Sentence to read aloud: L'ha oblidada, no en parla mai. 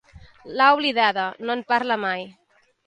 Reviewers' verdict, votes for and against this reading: accepted, 2, 0